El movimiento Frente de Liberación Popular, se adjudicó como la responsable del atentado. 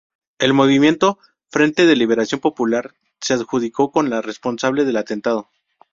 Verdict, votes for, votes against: rejected, 0, 2